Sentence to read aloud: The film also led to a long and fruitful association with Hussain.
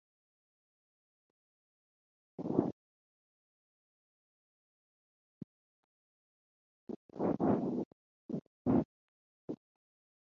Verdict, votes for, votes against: rejected, 0, 2